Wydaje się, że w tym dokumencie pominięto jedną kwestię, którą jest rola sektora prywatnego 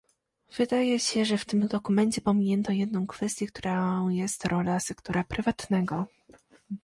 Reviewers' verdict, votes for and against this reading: accepted, 2, 0